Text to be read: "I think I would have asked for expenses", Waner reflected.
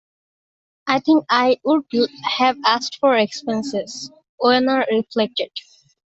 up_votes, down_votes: 0, 2